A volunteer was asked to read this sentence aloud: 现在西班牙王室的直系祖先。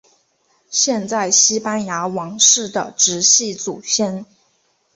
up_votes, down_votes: 4, 0